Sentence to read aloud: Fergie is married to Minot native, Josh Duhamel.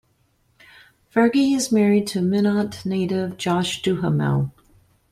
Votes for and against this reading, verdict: 0, 2, rejected